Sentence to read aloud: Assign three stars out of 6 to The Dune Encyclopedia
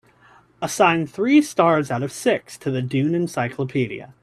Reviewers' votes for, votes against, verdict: 0, 2, rejected